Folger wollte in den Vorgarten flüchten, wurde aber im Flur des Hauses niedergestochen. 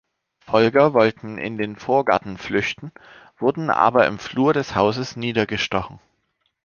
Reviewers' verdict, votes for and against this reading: rejected, 1, 2